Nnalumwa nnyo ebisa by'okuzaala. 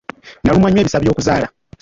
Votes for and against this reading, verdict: 1, 2, rejected